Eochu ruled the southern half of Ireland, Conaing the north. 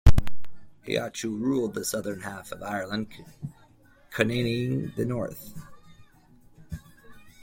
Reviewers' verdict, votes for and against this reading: accepted, 2, 1